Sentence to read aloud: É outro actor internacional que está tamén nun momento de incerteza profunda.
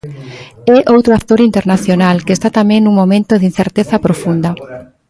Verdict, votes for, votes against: accepted, 2, 1